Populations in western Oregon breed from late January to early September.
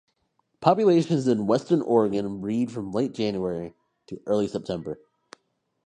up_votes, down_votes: 2, 0